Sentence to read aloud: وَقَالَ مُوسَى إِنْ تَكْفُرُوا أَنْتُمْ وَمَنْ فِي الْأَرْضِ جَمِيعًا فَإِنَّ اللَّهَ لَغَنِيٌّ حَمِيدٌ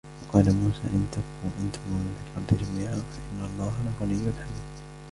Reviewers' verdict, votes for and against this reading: rejected, 1, 2